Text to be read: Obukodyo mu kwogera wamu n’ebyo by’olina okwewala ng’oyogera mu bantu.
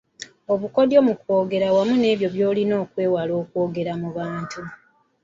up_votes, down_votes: 0, 2